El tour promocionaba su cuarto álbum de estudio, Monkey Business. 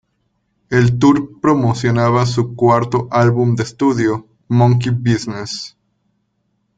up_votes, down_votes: 2, 0